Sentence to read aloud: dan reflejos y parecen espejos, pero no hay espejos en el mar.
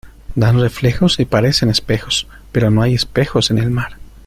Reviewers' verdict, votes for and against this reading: accepted, 2, 0